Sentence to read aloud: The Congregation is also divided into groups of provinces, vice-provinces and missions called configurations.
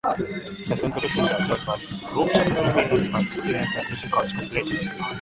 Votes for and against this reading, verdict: 0, 2, rejected